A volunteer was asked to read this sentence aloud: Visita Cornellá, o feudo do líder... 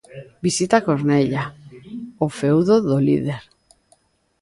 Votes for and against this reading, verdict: 0, 2, rejected